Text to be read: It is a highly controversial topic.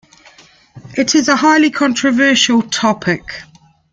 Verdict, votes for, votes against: accepted, 2, 1